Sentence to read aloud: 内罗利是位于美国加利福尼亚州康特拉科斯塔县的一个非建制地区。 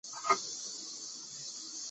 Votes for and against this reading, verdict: 0, 4, rejected